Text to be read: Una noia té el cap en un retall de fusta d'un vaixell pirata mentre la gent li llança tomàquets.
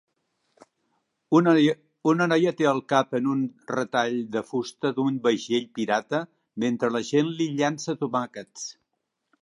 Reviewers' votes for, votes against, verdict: 2, 3, rejected